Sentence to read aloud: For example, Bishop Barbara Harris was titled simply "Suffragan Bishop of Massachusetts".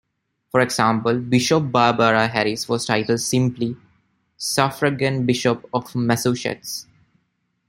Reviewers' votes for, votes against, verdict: 0, 2, rejected